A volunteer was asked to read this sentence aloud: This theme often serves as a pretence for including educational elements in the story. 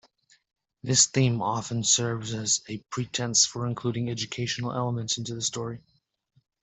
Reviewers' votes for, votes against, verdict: 1, 2, rejected